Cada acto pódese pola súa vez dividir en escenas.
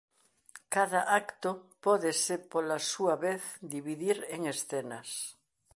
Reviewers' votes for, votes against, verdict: 2, 0, accepted